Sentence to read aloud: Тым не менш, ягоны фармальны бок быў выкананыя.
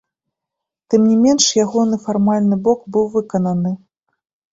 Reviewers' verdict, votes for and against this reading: accepted, 2, 1